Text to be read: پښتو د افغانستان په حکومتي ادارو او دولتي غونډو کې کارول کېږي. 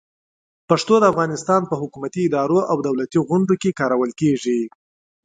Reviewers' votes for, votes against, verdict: 2, 0, accepted